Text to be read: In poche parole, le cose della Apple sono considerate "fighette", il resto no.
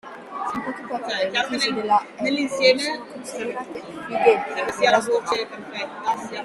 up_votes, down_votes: 0, 2